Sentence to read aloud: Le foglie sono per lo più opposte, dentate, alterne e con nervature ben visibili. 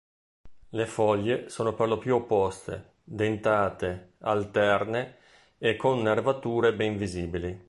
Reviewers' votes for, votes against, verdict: 2, 0, accepted